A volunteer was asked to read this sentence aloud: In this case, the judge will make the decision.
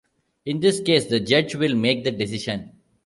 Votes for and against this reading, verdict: 2, 1, accepted